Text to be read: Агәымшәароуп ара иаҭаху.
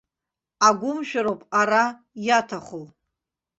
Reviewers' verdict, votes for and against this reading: rejected, 0, 2